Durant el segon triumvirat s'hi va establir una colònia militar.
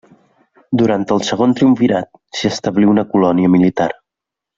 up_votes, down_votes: 1, 2